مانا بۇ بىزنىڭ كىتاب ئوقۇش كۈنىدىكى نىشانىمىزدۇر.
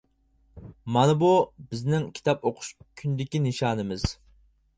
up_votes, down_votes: 0, 4